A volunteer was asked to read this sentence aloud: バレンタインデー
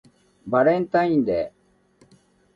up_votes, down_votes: 2, 0